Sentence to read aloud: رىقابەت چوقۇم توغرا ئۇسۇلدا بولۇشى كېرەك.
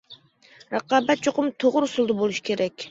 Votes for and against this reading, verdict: 2, 0, accepted